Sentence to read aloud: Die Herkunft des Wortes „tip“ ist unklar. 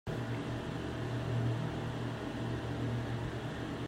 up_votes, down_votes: 0, 2